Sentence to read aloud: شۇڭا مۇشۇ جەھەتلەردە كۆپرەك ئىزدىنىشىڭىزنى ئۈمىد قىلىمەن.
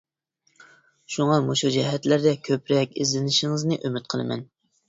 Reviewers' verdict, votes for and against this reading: accepted, 2, 0